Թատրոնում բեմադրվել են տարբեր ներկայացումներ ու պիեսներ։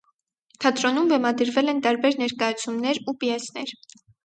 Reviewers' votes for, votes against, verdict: 4, 0, accepted